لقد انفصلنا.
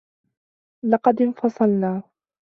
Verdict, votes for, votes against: accepted, 2, 0